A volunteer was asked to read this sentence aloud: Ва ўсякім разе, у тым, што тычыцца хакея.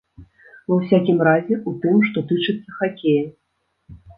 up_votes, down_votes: 2, 0